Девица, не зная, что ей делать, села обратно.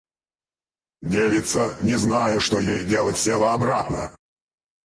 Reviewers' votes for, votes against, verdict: 2, 2, rejected